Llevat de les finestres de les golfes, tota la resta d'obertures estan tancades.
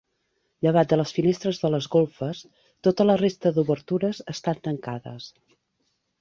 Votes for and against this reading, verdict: 2, 0, accepted